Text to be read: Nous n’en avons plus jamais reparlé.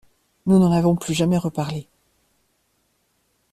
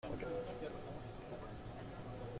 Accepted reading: first